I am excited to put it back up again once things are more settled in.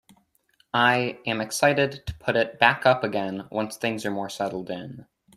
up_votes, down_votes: 2, 0